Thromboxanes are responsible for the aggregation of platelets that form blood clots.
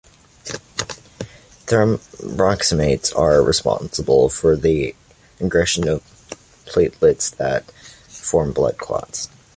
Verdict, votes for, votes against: rejected, 0, 2